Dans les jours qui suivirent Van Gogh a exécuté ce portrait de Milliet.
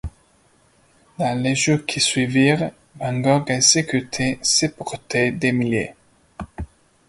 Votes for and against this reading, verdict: 0, 2, rejected